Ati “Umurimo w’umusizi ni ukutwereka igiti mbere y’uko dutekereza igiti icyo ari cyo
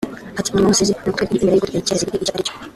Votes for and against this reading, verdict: 0, 2, rejected